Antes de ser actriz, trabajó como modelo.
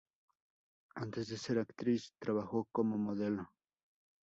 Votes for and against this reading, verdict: 0, 2, rejected